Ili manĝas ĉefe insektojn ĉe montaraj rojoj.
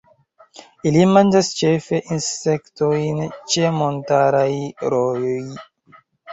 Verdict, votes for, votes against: accepted, 2, 1